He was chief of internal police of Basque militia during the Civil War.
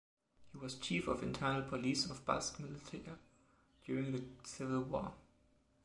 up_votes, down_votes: 1, 2